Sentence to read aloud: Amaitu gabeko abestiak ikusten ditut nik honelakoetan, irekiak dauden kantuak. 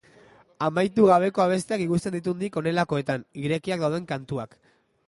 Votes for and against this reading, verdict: 2, 1, accepted